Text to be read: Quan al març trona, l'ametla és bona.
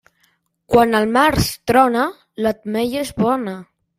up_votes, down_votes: 0, 2